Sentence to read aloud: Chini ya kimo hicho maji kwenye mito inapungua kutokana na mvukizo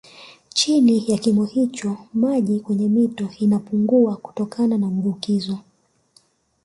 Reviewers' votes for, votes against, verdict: 2, 0, accepted